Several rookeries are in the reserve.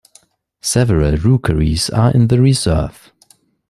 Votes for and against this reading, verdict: 2, 1, accepted